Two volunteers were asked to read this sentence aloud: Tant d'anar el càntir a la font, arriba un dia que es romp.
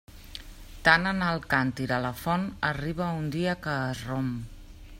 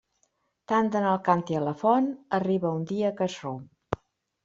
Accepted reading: second